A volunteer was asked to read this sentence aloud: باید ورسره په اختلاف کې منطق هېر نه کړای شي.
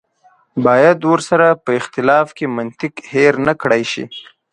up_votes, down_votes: 2, 0